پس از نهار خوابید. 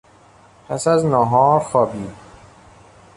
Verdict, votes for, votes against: accepted, 2, 0